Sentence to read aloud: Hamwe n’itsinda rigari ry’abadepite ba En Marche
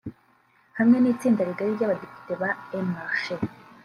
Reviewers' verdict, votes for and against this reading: rejected, 1, 2